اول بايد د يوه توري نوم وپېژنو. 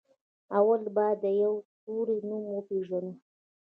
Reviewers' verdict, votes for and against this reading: accepted, 2, 0